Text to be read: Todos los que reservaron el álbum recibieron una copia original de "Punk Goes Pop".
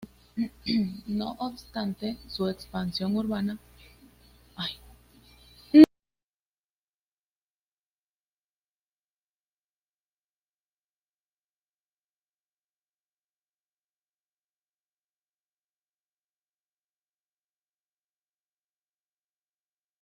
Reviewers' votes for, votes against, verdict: 0, 2, rejected